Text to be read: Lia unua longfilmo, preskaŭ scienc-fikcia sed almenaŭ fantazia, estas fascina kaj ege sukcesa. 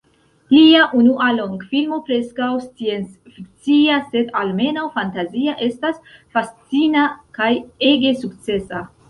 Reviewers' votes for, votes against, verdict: 2, 0, accepted